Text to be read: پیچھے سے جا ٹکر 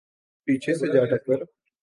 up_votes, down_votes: 2, 0